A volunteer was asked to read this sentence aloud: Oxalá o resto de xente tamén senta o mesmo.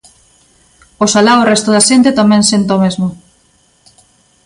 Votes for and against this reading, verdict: 1, 2, rejected